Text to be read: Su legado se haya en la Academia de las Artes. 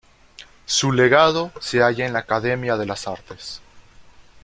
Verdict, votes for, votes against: accepted, 2, 1